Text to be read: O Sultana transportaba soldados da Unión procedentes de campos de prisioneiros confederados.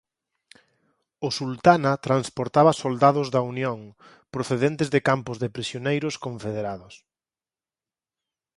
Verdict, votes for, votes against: accepted, 4, 0